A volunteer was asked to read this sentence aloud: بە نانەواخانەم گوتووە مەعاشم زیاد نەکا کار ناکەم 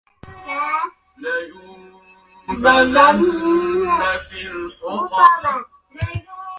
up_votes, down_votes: 0, 2